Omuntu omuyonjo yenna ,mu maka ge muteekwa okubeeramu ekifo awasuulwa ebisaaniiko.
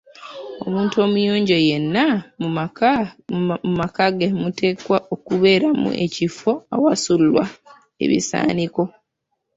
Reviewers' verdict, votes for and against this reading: rejected, 0, 2